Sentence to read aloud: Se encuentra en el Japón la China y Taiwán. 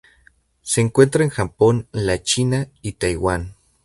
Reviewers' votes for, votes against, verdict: 0, 2, rejected